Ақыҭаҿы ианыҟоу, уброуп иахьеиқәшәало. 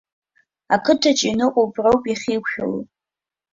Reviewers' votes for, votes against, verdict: 2, 0, accepted